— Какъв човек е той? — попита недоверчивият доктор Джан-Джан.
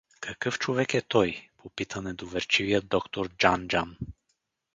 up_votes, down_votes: 0, 2